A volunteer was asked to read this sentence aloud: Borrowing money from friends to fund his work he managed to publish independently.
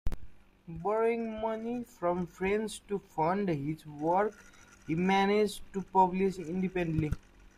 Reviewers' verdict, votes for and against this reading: accepted, 2, 0